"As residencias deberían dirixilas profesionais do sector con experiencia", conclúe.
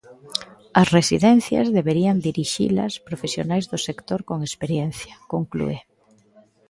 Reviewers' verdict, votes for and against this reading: accepted, 2, 0